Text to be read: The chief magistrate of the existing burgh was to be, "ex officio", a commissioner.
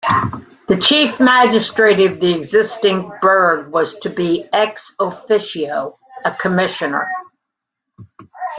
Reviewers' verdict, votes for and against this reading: accepted, 2, 1